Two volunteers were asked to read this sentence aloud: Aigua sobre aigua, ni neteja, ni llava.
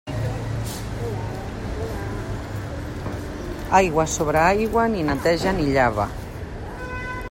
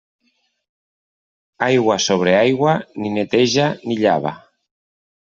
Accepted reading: second